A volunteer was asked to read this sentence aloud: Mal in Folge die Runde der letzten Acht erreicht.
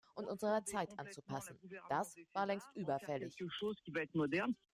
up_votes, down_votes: 0, 2